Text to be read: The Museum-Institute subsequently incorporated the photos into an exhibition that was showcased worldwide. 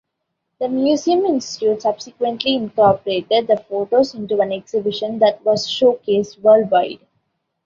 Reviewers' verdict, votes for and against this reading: accepted, 2, 0